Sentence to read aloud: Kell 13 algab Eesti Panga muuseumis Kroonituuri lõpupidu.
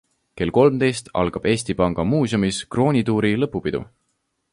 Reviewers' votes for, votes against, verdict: 0, 2, rejected